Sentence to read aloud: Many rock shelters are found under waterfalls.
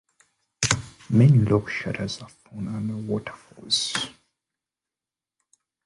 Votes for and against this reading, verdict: 2, 1, accepted